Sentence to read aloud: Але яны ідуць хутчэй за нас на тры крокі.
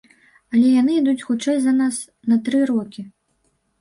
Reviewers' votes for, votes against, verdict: 1, 2, rejected